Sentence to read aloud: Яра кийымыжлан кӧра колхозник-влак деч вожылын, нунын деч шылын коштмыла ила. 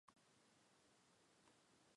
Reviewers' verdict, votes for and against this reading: rejected, 0, 2